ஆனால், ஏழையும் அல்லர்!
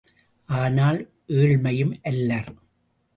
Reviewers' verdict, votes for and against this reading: rejected, 0, 2